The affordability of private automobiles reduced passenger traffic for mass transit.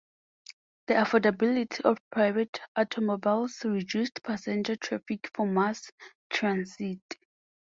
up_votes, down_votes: 2, 2